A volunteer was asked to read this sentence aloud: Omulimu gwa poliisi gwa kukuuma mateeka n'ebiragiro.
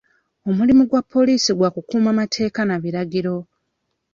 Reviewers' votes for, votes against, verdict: 0, 2, rejected